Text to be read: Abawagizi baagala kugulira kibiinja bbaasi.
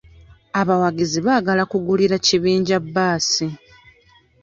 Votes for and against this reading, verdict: 0, 2, rejected